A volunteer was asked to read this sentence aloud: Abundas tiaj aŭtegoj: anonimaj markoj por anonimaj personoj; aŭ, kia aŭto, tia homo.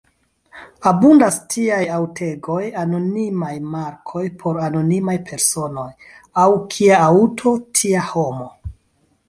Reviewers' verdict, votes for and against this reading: rejected, 1, 2